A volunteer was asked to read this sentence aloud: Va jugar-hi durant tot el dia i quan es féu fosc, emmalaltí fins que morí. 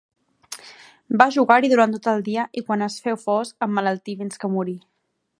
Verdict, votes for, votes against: accepted, 2, 0